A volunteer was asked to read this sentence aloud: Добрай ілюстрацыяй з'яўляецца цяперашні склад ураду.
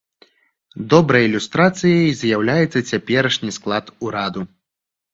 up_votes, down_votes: 2, 0